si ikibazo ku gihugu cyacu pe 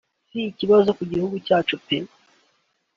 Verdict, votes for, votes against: accepted, 3, 0